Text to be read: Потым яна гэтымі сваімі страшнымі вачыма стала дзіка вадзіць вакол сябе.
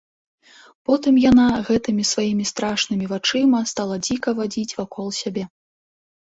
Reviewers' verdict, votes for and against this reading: accepted, 2, 0